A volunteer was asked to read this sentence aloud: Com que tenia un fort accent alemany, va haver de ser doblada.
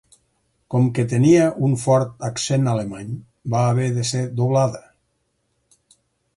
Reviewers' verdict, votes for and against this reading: accepted, 4, 0